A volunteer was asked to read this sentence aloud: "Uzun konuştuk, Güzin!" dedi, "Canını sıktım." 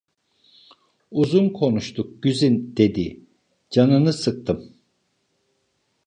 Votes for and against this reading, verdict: 2, 0, accepted